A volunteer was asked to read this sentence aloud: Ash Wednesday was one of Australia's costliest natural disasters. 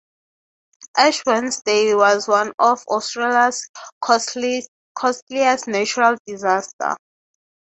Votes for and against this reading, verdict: 0, 3, rejected